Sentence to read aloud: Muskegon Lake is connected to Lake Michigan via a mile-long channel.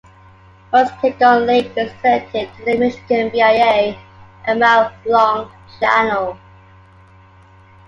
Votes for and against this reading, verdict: 2, 1, accepted